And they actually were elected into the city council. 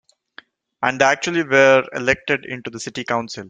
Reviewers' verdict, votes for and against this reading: rejected, 0, 2